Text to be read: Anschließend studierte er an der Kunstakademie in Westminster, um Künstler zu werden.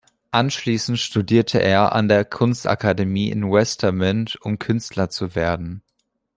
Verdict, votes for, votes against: rejected, 0, 2